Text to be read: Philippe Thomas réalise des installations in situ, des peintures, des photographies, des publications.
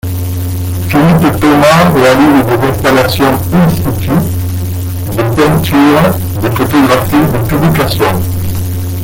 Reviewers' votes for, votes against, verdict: 0, 2, rejected